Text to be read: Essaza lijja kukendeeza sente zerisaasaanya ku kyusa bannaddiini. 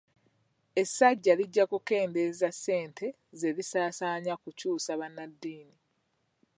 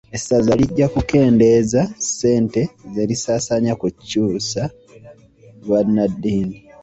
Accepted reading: second